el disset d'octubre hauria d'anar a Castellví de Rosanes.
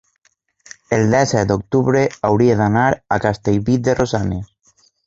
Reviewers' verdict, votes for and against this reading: rejected, 0, 2